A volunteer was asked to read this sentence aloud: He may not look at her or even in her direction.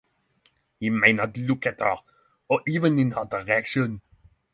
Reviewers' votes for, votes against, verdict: 6, 0, accepted